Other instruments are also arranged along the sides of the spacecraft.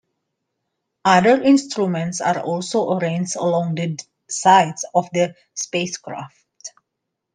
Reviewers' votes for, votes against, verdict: 1, 2, rejected